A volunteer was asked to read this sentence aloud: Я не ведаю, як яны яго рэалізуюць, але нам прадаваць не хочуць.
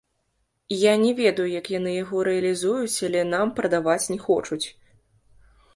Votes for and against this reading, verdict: 1, 2, rejected